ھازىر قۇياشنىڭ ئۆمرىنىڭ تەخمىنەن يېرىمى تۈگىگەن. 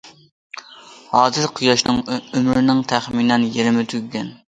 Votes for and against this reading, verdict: 1, 2, rejected